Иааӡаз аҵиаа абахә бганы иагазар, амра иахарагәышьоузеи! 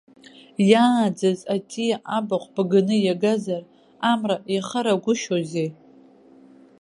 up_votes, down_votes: 2, 1